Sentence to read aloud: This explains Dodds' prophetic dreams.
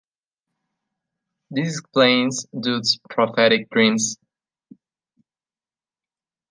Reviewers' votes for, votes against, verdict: 2, 0, accepted